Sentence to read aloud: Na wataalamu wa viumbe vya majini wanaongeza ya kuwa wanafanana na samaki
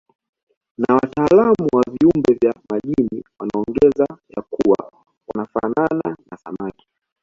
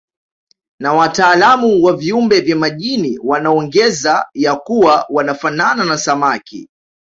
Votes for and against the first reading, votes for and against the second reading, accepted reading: 0, 2, 2, 0, second